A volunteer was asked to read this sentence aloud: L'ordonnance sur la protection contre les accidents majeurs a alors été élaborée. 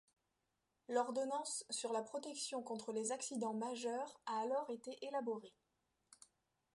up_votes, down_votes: 2, 0